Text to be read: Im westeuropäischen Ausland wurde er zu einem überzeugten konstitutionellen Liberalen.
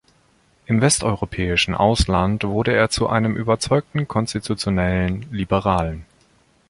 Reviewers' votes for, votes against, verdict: 2, 1, accepted